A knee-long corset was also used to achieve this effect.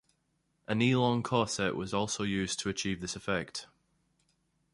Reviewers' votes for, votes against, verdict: 2, 0, accepted